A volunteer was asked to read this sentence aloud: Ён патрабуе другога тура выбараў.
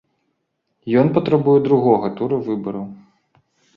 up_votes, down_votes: 2, 0